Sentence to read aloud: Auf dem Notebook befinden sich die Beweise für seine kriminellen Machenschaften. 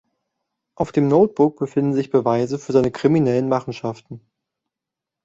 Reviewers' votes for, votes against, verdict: 0, 2, rejected